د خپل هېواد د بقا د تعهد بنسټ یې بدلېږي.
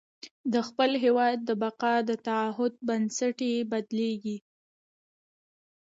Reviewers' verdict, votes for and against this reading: rejected, 1, 2